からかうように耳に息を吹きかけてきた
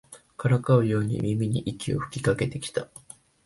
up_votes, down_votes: 2, 1